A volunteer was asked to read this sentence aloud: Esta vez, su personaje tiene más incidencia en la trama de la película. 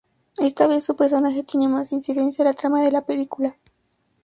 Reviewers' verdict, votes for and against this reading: accepted, 2, 0